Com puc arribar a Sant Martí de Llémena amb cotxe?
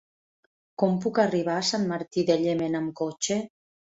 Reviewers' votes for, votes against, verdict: 4, 0, accepted